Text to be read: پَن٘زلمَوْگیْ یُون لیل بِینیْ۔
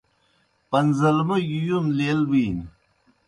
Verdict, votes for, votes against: accepted, 2, 0